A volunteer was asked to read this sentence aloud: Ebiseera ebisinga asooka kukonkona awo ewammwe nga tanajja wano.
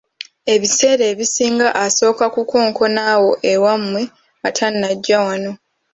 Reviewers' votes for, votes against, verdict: 2, 0, accepted